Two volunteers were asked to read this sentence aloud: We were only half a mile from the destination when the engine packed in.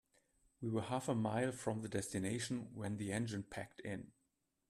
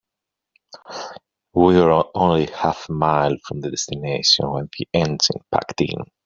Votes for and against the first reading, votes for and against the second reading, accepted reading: 1, 2, 2, 0, second